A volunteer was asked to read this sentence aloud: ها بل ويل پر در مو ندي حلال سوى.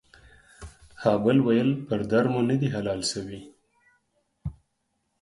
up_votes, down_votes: 4, 0